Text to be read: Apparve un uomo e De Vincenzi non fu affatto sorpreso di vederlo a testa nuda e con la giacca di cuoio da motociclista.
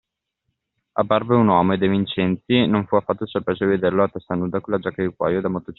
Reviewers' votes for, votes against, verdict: 0, 2, rejected